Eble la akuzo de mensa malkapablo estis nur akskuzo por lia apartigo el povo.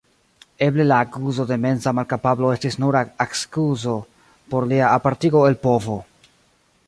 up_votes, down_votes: 1, 2